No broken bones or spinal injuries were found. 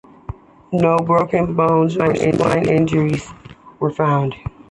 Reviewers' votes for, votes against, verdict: 2, 0, accepted